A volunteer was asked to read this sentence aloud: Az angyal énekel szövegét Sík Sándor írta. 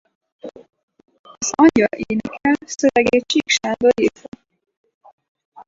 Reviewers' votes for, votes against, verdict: 0, 4, rejected